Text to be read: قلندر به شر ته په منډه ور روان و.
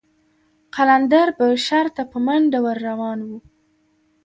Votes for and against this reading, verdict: 3, 0, accepted